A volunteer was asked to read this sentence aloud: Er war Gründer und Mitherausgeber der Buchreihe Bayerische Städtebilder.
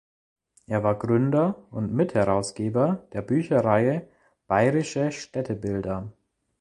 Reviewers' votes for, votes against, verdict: 0, 2, rejected